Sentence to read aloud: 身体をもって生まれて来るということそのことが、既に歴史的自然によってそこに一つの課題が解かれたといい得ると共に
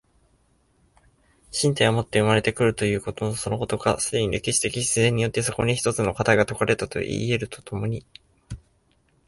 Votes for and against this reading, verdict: 2, 0, accepted